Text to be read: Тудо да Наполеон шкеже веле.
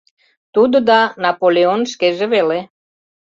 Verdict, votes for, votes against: accepted, 2, 0